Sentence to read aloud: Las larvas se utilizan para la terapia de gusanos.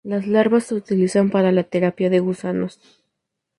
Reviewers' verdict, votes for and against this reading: rejected, 0, 2